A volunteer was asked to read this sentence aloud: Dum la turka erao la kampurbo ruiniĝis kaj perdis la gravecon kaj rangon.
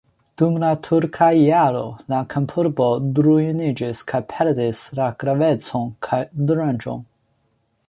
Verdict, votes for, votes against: accepted, 2, 1